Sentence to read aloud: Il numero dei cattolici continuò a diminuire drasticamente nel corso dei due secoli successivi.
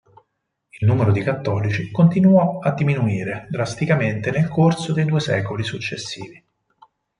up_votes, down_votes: 4, 0